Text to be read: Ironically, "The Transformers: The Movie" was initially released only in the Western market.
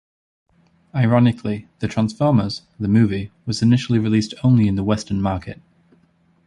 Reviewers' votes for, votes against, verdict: 2, 0, accepted